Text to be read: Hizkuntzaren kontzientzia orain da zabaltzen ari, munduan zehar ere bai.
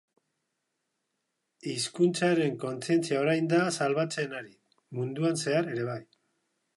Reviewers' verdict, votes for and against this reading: rejected, 1, 2